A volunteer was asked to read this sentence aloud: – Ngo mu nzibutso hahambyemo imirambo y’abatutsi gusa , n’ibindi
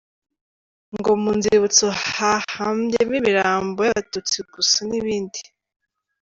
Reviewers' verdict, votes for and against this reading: accepted, 3, 0